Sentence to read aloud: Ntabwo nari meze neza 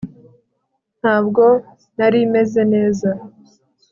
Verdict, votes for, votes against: accepted, 3, 0